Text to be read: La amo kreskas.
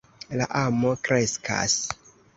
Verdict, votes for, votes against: accepted, 2, 0